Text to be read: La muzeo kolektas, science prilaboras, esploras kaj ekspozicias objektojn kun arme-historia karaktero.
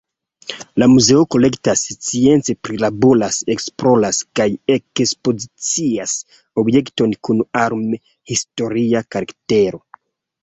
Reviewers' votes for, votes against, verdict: 1, 2, rejected